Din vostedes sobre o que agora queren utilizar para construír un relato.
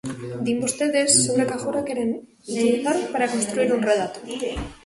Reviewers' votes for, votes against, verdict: 0, 2, rejected